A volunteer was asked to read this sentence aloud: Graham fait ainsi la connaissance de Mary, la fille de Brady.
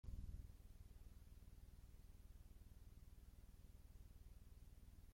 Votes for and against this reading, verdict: 0, 2, rejected